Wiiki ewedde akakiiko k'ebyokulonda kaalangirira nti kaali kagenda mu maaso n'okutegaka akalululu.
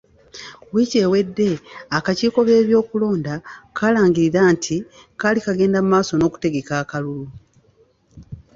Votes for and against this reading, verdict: 3, 0, accepted